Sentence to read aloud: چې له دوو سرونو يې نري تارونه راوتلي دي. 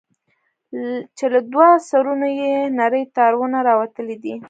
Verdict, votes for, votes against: rejected, 0, 2